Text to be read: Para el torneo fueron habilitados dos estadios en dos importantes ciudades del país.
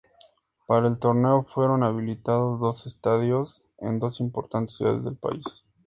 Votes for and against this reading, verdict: 2, 0, accepted